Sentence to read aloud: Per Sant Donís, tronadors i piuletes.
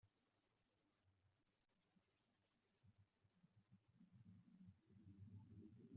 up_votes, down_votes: 0, 2